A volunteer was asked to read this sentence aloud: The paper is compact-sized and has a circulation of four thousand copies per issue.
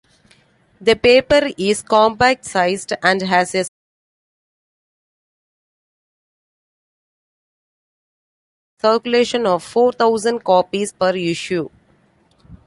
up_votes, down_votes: 0, 2